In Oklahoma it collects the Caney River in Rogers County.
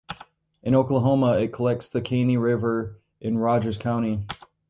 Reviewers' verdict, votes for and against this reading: accepted, 2, 0